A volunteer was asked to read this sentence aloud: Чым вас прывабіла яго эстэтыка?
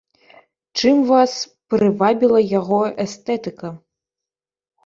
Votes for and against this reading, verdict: 2, 0, accepted